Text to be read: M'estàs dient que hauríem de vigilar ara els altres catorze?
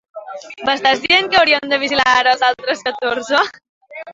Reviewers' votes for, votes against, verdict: 2, 1, accepted